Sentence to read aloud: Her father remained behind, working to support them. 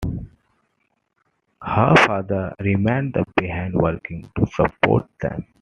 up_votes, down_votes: 2, 0